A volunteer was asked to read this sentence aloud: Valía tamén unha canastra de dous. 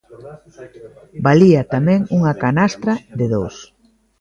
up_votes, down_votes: 1, 2